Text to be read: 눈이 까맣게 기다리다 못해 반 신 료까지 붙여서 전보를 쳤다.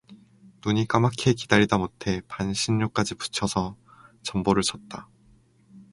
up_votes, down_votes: 4, 0